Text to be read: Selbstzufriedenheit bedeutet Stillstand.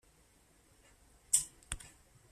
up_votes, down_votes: 0, 2